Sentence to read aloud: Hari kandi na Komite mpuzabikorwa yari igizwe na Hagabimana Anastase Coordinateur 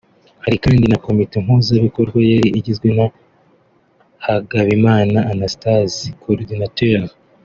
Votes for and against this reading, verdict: 2, 1, accepted